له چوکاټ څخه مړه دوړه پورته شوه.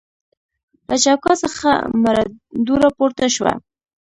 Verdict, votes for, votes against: rejected, 1, 2